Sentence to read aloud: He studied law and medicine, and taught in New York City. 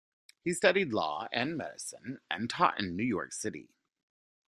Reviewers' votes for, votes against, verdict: 2, 0, accepted